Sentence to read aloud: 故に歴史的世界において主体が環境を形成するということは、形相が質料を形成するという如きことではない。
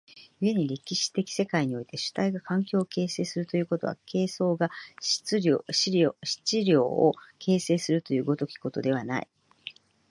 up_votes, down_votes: 1, 2